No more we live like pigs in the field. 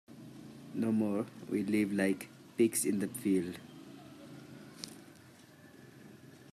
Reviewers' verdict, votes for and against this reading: accepted, 2, 1